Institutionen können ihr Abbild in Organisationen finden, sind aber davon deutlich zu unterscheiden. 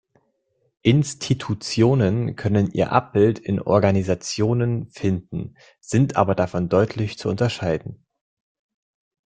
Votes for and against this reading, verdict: 2, 0, accepted